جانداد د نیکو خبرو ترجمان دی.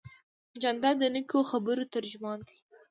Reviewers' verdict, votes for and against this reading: accepted, 2, 0